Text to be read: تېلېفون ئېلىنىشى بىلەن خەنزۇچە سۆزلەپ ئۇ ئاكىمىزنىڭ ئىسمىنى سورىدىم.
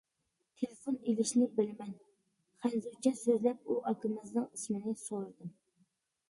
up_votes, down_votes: 0, 2